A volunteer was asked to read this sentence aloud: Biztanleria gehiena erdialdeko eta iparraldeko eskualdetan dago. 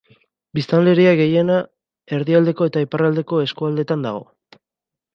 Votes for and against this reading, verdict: 3, 0, accepted